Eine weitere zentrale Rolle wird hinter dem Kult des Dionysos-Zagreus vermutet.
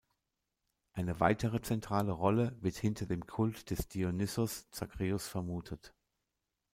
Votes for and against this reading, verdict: 0, 2, rejected